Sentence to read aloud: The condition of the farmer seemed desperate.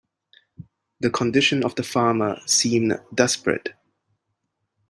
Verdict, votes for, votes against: accepted, 2, 1